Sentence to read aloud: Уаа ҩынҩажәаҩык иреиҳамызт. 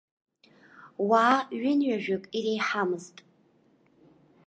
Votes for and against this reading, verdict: 1, 2, rejected